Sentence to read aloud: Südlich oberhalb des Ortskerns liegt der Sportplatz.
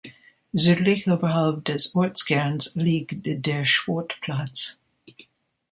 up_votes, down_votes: 2, 0